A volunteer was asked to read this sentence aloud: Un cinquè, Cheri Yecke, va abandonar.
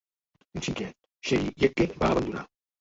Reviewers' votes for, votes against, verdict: 1, 2, rejected